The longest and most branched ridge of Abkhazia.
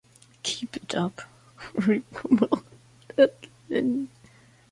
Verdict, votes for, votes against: rejected, 0, 2